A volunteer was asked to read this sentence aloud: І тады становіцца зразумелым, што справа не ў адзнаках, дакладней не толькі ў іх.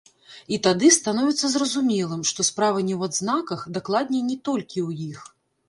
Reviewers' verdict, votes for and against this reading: accepted, 2, 0